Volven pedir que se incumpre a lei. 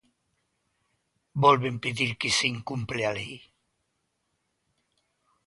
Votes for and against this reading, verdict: 2, 0, accepted